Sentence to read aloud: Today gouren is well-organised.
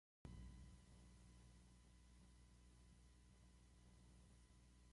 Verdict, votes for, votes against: rejected, 0, 2